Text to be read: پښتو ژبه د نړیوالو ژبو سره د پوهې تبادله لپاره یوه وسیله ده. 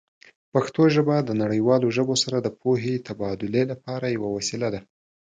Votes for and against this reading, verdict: 2, 0, accepted